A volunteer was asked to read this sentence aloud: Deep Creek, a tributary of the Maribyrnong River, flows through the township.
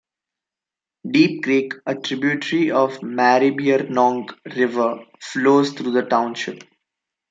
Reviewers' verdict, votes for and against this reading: rejected, 0, 2